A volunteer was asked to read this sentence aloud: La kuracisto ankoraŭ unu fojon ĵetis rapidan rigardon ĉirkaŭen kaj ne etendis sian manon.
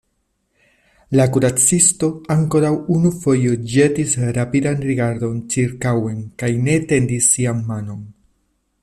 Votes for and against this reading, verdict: 2, 0, accepted